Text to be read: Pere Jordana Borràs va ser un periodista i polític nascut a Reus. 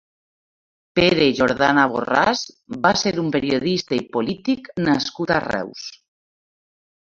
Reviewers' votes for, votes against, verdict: 3, 0, accepted